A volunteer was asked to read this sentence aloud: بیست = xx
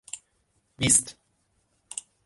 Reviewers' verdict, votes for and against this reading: rejected, 3, 3